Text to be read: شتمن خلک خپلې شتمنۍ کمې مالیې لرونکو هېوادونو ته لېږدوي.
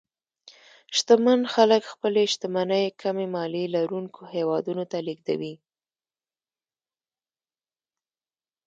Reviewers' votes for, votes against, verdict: 0, 2, rejected